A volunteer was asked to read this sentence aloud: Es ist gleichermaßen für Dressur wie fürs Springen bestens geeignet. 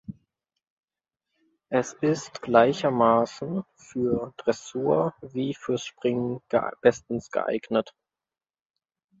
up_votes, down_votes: 0, 2